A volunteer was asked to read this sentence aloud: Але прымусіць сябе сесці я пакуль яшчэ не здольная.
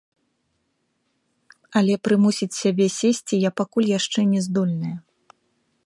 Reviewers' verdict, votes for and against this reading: rejected, 1, 2